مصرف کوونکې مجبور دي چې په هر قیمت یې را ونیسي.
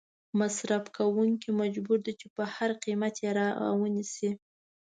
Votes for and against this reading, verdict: 2, 0, accepted